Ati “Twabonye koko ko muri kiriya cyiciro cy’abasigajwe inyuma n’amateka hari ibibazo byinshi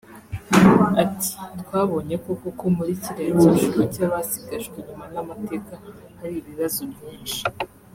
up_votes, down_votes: 0, 2